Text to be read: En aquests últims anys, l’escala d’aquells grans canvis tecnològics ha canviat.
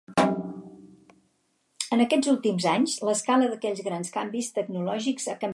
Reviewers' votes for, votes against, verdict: 0, 4, rejected